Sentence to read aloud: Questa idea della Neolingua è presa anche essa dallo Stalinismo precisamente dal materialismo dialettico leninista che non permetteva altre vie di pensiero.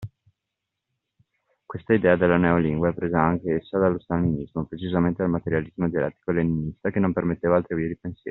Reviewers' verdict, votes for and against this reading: accepted, 2, 0